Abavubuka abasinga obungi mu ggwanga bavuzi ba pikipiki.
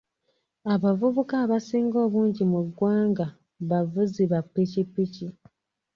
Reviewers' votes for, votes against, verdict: 2, 0, accepted